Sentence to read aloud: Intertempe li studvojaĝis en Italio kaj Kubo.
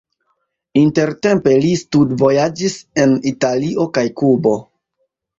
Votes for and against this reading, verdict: 2, 0, accepted